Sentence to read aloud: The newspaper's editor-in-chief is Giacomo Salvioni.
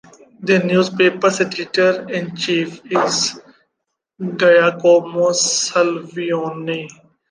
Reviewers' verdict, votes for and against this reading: accepted, 2, 1